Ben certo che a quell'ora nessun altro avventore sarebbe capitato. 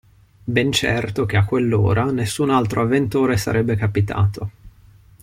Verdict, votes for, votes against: accepted, 2, 0